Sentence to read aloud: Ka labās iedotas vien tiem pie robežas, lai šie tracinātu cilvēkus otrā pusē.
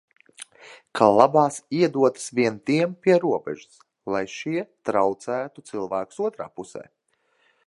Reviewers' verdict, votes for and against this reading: rejected, 0, 2